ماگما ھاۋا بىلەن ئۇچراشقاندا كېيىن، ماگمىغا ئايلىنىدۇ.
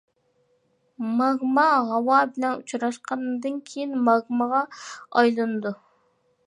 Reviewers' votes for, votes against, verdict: 0, 2, rejected